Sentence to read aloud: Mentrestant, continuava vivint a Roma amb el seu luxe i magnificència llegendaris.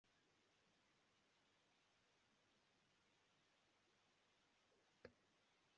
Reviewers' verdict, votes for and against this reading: rejected, 0, 2